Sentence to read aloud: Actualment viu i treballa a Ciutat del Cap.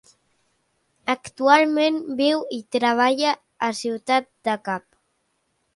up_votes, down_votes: 3, 2